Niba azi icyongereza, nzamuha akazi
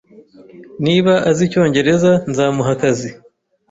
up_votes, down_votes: 2, 0